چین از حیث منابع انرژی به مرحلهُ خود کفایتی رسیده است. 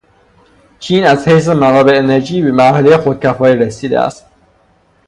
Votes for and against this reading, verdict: 6, 0, accepted